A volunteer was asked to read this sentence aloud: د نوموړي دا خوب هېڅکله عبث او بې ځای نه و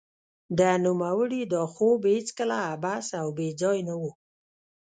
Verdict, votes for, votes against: rejected, 0, 2